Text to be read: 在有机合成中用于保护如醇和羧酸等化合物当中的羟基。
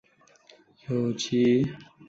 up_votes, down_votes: 0, 2